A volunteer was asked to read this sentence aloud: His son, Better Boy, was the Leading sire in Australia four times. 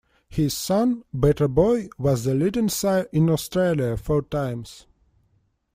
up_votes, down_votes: 2, 0